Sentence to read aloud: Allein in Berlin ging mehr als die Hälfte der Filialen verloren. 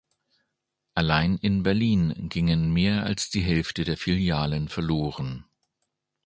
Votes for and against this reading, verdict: 0, 2, rejected